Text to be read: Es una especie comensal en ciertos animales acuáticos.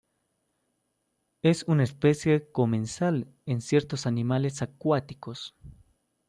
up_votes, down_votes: 2, 0